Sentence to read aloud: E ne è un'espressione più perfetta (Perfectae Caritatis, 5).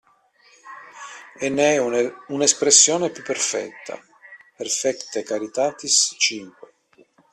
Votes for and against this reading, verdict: 0, 2, rejected